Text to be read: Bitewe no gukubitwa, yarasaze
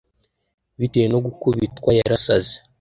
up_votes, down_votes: 2, 0